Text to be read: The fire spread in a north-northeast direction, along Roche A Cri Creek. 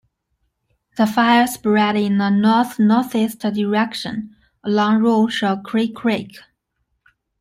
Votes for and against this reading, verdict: 2, 1, accepted